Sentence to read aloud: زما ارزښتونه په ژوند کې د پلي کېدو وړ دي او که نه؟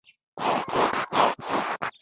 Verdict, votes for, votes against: rejected, 0, 2